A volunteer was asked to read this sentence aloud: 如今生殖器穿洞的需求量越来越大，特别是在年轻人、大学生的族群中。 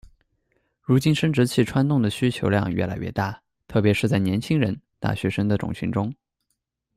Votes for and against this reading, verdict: 0, 2, rejected